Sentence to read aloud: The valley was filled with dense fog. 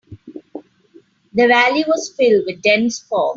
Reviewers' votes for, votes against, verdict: 3, 1, accepted